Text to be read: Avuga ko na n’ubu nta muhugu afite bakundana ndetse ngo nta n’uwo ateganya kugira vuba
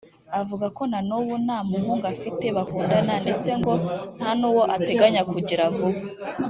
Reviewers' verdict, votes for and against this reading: rejected, 1, 2